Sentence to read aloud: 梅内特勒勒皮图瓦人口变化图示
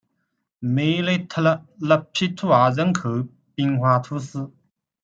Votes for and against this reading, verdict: 0, 2, rejected